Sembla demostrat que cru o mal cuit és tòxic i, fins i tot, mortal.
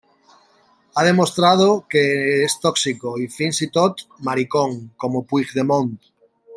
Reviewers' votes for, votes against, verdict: 0, 2, rejected